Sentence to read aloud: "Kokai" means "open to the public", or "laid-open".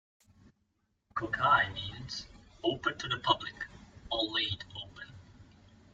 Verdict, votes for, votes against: accepted, 2, 0